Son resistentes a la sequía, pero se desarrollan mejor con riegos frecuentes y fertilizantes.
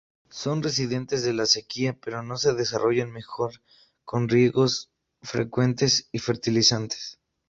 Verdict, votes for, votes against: rejected, 0, 2